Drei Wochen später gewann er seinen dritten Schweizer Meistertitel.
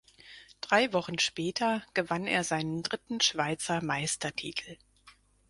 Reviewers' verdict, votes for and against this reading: accepted, 4, 0